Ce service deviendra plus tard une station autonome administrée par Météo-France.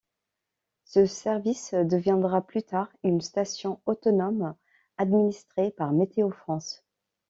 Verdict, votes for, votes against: accepted, 2, 0